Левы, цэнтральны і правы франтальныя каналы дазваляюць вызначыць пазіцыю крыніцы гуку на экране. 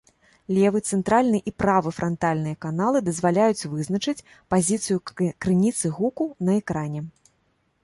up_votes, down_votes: 1, 2